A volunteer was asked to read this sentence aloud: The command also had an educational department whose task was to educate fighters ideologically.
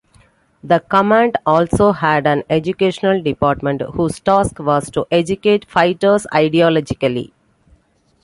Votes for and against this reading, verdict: 2, 0, accepted